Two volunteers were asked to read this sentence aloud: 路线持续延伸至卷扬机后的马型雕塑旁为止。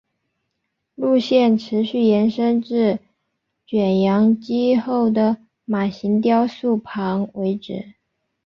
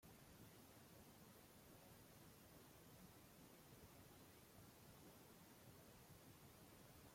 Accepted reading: first